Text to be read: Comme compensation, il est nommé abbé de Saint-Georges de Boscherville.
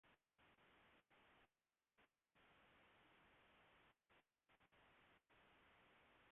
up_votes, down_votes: 0, 2